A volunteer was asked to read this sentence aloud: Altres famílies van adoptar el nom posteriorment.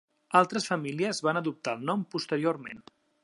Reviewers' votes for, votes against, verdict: 3, 0, accepted